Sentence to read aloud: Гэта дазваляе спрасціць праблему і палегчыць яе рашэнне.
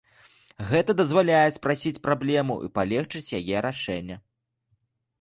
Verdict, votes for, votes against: rejected, 1, 2